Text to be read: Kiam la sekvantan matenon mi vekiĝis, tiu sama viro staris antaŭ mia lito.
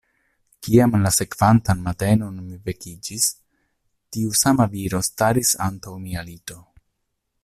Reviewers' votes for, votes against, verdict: 2, 0, accepted